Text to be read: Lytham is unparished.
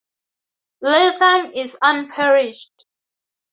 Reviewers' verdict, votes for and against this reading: rejected, 2, 2